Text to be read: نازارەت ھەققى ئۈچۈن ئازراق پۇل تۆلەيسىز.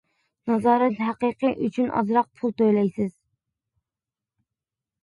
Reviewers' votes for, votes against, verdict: 0, 2, rejected